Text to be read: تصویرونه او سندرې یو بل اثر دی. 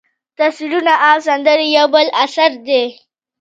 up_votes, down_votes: 2, 1